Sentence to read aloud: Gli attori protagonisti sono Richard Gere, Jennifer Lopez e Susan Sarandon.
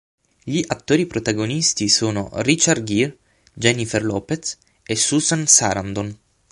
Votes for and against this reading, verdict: 9, 0, accepted